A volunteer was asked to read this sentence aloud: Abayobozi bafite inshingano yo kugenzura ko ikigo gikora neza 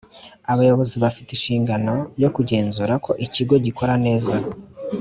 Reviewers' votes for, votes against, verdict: 2, 0, accepted